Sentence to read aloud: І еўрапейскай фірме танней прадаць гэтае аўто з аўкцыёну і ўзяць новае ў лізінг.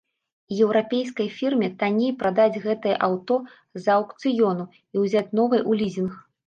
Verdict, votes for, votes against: rejected, 0, 2